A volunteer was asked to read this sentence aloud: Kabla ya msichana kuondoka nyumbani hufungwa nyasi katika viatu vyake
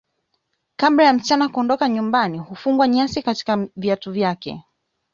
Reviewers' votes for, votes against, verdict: 2, 1, accepted